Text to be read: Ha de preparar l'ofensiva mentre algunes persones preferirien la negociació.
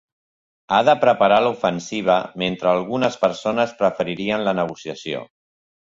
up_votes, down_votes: 6, 0